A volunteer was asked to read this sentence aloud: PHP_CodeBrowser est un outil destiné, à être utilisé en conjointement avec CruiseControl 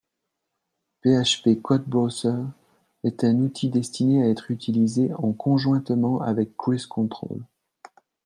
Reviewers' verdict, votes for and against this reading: accepted, 2, 0